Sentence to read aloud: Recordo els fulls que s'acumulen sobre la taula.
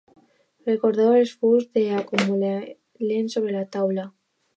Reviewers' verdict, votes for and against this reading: rejected, 0, 2